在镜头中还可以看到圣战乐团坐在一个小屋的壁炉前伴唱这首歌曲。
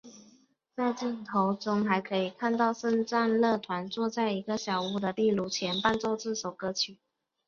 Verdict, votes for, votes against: rejected, 1, 2